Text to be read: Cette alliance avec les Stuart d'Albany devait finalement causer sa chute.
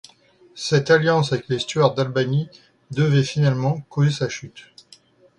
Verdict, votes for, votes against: accepted, 2, 0